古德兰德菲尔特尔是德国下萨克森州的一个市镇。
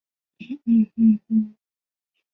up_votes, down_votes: 2, 0